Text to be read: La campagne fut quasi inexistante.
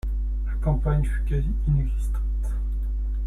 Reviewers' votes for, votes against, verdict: 2, 0, accepted